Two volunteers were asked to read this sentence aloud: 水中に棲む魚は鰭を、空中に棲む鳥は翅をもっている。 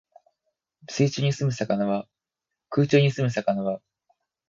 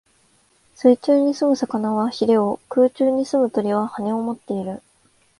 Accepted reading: second